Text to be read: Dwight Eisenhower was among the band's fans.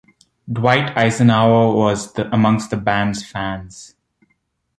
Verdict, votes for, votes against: rejected, 1, 2